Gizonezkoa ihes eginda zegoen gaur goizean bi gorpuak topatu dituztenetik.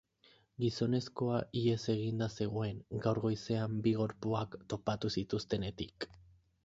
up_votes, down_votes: 0, 4